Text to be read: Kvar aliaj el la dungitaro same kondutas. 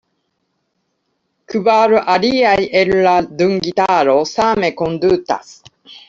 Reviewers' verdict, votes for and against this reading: accepted, 2, 0